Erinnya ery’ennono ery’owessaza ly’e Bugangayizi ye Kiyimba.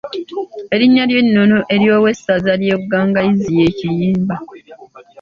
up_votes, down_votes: 2, 0